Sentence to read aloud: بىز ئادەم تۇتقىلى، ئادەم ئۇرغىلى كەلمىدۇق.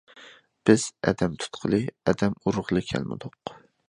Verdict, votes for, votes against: rejected, 0, 2